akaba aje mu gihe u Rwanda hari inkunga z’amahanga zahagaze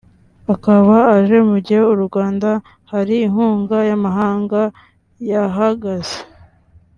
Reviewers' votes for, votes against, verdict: 2, 0, accepted